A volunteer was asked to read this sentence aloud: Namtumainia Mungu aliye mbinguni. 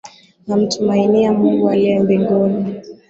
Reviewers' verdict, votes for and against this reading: accepted, 17, 0